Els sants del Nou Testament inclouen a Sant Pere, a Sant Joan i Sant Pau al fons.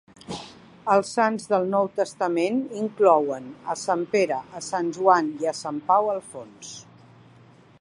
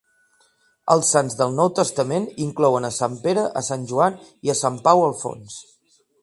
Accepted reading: second